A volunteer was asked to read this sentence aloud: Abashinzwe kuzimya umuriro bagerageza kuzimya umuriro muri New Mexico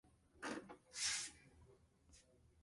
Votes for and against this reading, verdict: 0, 2, rejected